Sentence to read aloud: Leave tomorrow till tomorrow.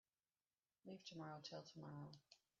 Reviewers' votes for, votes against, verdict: 1, 2, rejected